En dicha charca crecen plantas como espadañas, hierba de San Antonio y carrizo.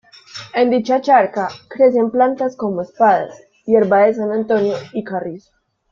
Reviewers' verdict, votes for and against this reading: rejected, 1, 2